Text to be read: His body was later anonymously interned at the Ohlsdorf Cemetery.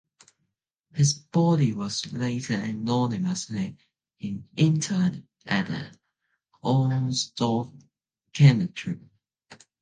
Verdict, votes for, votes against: rejected, 0, 2